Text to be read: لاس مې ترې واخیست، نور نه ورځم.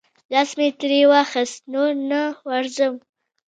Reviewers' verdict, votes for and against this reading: accepted, 2, 0